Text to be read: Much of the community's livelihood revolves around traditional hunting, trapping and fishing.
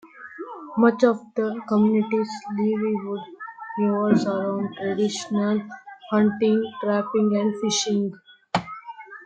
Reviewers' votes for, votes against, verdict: 2, 1, accepted